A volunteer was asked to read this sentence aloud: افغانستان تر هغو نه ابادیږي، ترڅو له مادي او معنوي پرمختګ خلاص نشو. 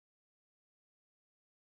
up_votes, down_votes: 1, 2